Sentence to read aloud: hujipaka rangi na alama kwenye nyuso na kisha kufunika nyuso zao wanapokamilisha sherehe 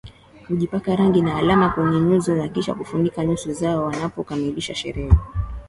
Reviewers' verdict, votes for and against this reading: accepted, 11, 0